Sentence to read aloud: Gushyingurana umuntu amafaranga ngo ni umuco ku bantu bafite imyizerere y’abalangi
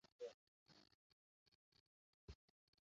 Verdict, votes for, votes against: rejected, 0, 2